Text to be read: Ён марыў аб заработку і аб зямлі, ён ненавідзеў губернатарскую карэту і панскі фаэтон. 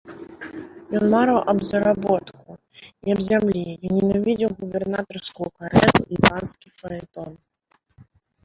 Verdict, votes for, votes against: rejected, 0, 2